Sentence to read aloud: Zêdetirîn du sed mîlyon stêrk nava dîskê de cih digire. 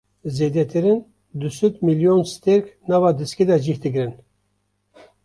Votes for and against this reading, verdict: 1, 2, rejected